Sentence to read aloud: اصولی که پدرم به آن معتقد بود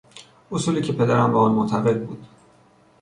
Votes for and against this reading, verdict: 2, 0, accepted